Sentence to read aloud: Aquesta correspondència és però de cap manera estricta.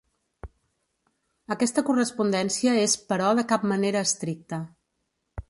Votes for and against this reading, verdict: 2, 0, accepted